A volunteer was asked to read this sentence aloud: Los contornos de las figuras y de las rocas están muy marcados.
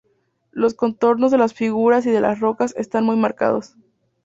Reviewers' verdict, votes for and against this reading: accepted, 2, 0